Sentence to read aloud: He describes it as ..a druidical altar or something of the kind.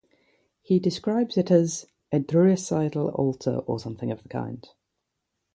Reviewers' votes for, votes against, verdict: 0, 3, rejected